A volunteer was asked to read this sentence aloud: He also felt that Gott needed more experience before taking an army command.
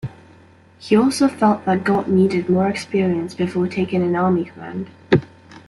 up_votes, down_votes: 2, 0